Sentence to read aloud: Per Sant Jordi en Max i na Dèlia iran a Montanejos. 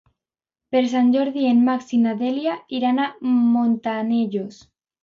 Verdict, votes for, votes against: rejected, 0, 2